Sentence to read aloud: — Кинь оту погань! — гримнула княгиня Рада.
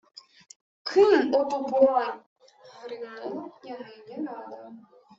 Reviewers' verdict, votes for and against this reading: rejected, 1, 2